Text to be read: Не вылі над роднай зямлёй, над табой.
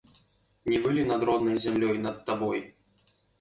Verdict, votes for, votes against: rejected, 0, 2